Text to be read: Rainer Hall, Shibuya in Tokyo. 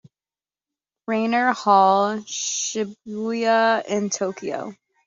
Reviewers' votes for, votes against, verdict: 2, 1, accepted